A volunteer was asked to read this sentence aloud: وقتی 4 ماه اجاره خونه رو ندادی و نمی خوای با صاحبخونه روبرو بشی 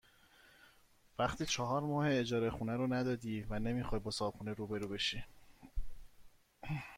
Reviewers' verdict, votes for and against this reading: rejected, 0, 2